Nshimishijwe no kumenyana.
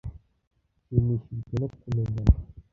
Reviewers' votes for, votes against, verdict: 1, 2, rejected